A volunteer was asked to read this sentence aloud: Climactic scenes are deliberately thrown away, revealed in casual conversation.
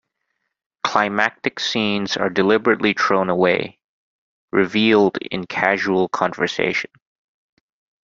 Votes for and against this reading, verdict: 2, 0, accepted